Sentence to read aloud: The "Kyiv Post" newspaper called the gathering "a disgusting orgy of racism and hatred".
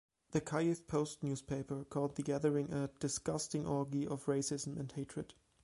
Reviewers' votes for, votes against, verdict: 1, 2, rejected